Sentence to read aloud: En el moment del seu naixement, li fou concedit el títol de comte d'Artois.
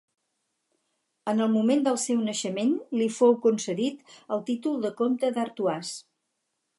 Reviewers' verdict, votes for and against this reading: accepted, 4, 0